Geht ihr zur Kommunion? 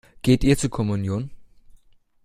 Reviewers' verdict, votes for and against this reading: accepted, 2, 0